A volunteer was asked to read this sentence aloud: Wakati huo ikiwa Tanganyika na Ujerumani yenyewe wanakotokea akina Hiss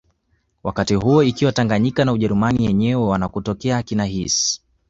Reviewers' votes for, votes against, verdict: 2, 1, accepted